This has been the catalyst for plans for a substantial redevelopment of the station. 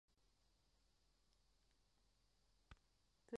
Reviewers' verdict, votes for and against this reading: rejected, 0, 2